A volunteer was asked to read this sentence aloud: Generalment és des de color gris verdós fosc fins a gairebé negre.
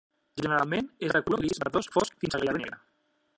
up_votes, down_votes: 0, 2